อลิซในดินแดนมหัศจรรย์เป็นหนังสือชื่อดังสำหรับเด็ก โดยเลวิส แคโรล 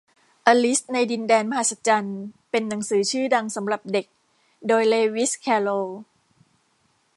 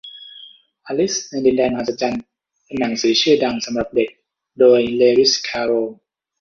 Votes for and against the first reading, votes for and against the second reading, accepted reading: 2, 0, 0, 2, first